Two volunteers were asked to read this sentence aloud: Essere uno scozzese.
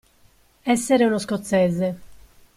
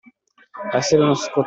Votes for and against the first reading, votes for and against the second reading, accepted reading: 2, 0, 0, 2, first